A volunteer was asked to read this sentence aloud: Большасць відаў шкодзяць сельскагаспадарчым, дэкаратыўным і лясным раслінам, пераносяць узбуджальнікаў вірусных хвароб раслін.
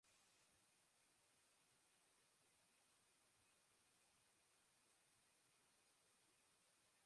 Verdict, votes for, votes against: rejected, 0, 3